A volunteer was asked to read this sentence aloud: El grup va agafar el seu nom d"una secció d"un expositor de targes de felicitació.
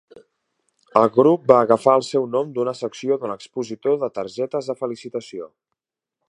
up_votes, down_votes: 1, 2